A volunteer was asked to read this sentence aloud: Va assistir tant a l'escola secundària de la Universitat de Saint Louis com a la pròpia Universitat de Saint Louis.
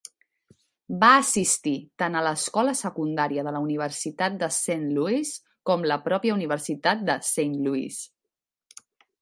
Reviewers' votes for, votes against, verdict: 0, 2, rejected